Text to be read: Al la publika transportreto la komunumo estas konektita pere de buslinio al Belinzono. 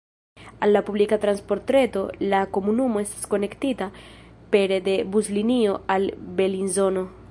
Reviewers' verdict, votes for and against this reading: rejected, 1, 2